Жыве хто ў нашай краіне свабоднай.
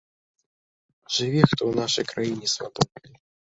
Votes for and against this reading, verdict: 0, 2, rejected